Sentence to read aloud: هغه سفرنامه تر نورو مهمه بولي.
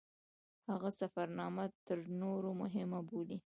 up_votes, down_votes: 2, 0